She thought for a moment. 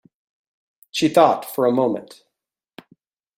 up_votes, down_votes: 2, 0